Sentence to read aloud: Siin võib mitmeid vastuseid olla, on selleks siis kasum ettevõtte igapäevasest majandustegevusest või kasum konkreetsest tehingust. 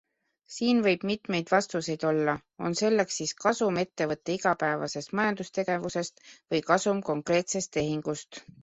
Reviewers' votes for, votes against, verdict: 2, 1, accepted